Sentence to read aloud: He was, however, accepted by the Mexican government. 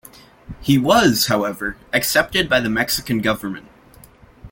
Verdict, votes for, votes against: accepted, 2, 0